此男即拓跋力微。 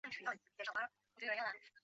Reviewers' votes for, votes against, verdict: 0, 2, rejected